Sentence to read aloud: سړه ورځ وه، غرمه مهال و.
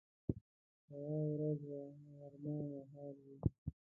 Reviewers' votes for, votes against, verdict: 0, 2, rejected